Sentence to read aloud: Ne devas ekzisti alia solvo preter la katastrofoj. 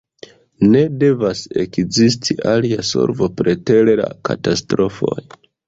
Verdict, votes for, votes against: rejected, 0, 2